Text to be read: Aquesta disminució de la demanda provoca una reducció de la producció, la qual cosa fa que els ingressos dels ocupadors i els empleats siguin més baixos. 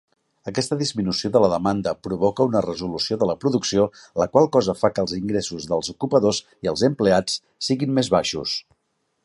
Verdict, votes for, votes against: rejected, 0, 2